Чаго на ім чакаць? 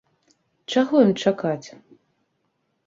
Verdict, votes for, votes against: rejected, 0, 2